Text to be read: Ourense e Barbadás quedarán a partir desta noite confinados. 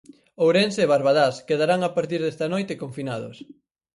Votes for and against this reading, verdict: 4, 0, accepted